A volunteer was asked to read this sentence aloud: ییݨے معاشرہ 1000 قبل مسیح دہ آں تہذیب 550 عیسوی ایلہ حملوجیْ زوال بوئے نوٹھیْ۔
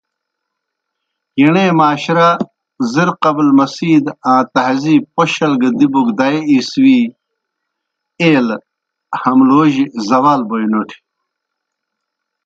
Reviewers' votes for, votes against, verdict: 0, 2, rejected